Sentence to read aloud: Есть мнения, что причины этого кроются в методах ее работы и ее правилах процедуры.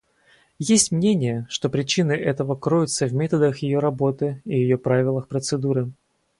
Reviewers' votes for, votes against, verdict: 4, 0, accepted